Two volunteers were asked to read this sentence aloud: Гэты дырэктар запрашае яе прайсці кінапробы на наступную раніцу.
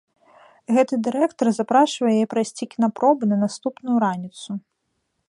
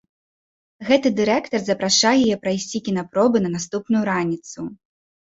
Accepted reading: second